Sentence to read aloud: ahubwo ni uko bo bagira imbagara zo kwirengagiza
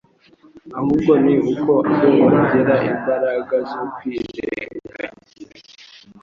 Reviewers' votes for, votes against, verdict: 1, 2, rejected